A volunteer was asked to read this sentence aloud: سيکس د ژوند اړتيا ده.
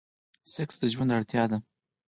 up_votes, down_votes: 4, 0